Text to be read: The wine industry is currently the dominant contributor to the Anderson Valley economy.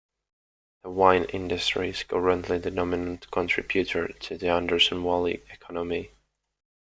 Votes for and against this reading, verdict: 1, 2, rejected